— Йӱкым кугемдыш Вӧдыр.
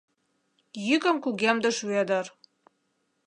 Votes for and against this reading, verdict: 2, 0, accepted